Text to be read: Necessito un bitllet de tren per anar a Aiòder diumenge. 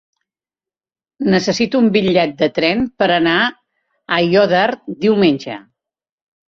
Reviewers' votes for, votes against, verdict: 2, 0, accepted